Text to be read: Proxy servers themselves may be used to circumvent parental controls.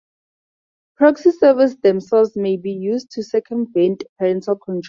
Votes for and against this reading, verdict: 0, 4, rejected